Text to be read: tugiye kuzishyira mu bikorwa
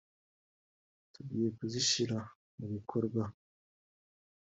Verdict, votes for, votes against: accepted, 2, 1